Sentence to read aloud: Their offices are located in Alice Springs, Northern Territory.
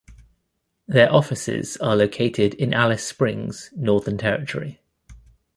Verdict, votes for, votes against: accepted, 2, 0